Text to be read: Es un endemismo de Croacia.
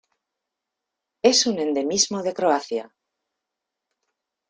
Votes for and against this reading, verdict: 2, 0, accepted